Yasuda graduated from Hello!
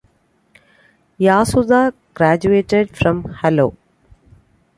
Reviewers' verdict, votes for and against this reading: accepted, 2, 0